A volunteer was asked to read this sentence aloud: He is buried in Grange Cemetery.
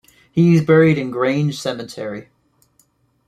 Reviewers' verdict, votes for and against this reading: accepted, 2, 0